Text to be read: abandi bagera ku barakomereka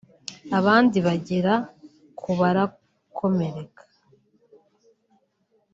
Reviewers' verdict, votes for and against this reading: accepted, 2, 0